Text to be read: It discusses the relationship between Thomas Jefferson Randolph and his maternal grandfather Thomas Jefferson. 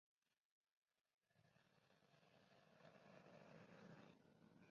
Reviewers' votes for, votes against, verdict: 0, 2, rejected